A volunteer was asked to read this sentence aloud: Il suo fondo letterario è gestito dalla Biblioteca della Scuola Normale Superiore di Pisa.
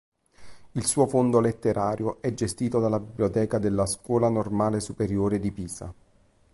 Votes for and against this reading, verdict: 2, 0, accepted